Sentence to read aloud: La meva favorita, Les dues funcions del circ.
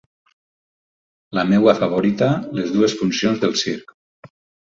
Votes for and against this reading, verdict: 0, 4, rejected